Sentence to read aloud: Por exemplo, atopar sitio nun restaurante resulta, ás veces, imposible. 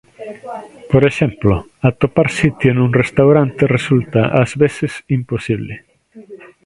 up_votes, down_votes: 1, 2